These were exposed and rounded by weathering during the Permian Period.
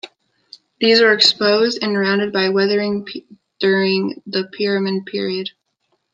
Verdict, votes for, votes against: rejected, 0, 2